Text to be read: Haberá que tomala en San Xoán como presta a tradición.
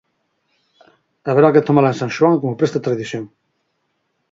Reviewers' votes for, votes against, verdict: 8, 2, accepted